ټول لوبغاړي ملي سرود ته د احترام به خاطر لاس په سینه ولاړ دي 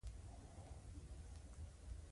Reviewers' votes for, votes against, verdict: 2, 1, accepted